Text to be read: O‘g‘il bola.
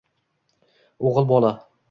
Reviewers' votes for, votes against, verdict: 1, 2, rejected